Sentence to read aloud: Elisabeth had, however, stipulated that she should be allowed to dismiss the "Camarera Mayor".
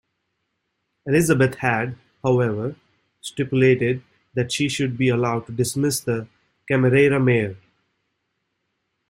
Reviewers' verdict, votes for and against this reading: accepted, 2, 0